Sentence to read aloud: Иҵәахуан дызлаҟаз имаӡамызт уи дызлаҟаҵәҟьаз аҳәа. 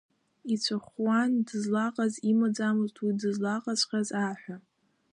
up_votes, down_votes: 0, 2